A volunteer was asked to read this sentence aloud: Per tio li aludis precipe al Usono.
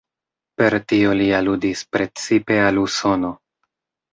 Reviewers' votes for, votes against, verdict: 3, 0, accepted